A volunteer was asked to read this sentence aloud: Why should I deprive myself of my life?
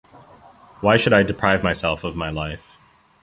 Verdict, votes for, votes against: accepted, 2, 0